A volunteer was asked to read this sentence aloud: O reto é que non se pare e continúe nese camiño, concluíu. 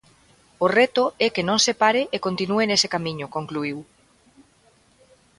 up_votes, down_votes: 2, 0